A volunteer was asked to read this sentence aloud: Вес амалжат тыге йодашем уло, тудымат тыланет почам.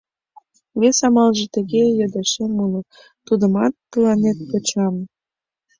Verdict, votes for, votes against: rejected, 1, 2